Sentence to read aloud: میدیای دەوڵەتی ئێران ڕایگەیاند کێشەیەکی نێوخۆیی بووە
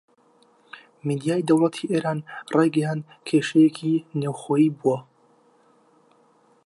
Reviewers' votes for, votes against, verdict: 1, 2, rejected